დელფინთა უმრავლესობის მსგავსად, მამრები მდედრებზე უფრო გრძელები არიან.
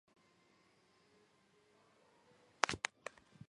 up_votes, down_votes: 0, 2